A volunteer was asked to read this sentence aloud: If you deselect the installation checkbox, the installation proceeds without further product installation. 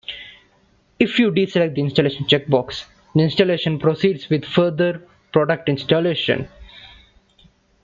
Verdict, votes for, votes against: rejected, 0, 2